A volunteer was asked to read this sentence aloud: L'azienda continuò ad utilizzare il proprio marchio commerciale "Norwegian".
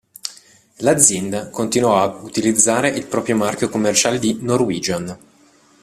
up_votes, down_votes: 1, 2